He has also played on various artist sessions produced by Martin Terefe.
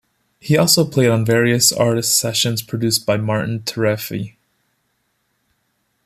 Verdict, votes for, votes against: rejected, 0, 2